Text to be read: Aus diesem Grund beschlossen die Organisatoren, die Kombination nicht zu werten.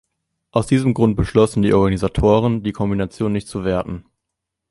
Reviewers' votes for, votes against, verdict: 2, 0, accepted